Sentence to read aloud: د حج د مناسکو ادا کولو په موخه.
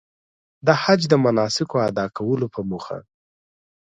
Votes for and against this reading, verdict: 2, 0, accepted